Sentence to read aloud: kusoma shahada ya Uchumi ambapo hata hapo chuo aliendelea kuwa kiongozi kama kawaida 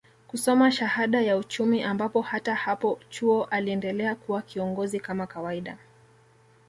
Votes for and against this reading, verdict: 2, 0, accepted